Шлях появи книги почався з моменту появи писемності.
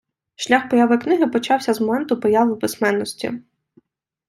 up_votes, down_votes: 1, 2